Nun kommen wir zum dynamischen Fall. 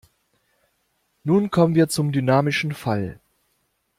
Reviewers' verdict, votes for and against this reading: accepted, 2, 0